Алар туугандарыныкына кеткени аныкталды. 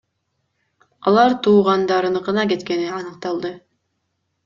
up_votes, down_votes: 2, 0